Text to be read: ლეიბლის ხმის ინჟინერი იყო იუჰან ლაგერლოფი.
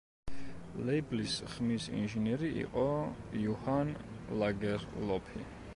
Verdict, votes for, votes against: accepted, 2, 0